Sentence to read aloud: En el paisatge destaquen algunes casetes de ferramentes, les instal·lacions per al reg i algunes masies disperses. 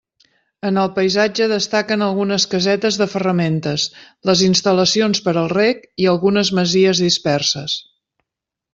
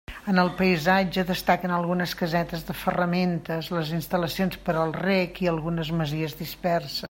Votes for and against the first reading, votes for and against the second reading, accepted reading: 2, 0, 1, 2, first